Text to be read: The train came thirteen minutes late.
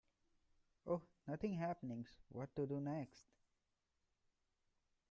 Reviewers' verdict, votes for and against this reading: rejected, 0, 2